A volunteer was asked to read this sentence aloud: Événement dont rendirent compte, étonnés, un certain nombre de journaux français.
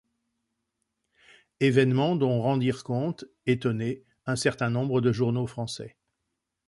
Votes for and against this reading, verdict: 2, 0, accepted